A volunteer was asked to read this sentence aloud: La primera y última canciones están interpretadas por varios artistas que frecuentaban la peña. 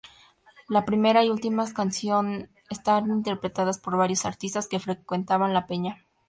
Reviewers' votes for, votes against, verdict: 0, 2, rejected